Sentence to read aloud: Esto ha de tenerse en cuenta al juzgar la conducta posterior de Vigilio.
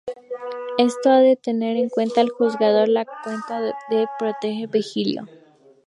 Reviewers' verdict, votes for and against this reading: rejected, 0, 2